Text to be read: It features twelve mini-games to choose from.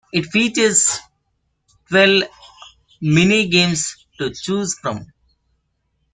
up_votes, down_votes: 0, 2